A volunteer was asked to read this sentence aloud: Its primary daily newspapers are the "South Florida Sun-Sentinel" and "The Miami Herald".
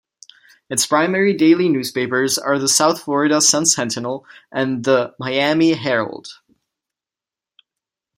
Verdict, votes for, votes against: accepted, 2, 0